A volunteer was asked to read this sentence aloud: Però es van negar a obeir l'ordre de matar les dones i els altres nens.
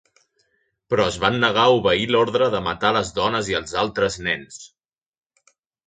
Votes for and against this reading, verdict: 3, 0, accepted